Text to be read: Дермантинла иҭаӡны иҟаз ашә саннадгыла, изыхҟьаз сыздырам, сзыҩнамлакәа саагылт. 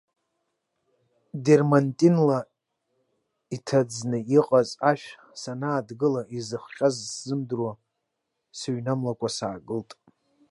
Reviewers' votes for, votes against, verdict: 0, 2, rejected